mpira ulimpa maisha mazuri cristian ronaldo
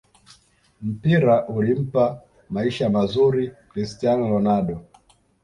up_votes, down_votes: 2, 0